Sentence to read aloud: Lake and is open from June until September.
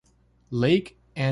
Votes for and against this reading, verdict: 0, 2, rejected